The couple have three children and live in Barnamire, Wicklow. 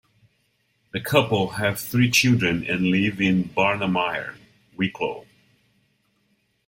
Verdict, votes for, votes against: accepted, 2, 0